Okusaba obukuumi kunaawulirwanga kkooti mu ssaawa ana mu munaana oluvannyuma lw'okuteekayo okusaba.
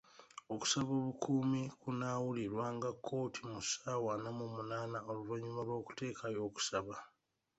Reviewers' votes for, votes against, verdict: 1, 2, rejected